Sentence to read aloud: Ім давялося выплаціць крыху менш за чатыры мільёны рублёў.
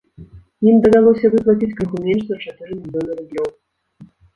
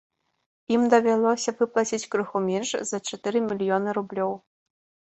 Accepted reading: second